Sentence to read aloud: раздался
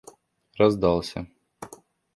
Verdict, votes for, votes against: accepted, 2, 0